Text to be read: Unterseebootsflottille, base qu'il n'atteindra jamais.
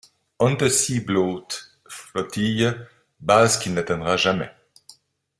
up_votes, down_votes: 0, 2